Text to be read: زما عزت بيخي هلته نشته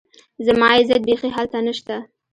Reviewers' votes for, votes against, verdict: 2, 0, accepted